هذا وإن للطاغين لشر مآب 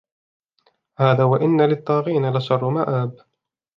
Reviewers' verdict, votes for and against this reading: accepted, 2, 0